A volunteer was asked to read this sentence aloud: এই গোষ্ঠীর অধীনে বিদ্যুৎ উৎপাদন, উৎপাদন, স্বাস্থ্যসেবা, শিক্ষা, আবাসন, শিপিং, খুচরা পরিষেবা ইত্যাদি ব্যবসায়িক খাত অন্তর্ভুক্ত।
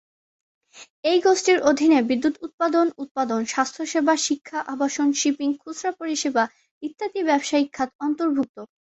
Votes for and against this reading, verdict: 2, 0, accepted